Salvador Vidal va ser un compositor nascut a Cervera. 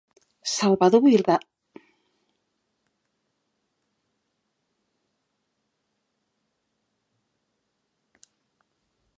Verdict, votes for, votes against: rejected, 0, 2